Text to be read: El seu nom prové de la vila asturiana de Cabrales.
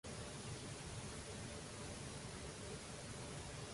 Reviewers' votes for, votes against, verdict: 0, 2, rejected